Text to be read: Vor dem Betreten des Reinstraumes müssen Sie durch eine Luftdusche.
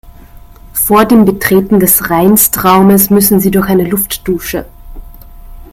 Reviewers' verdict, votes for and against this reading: accepted, 2, 0